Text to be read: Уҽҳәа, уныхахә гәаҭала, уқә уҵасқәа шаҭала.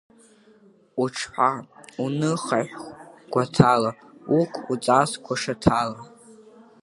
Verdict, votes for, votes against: rejected, 0, 2